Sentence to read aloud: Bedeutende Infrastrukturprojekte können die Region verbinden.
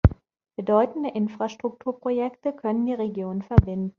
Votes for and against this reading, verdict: 1, 2, rejected